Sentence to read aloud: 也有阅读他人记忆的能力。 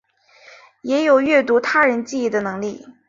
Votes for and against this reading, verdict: 11, 0, accepted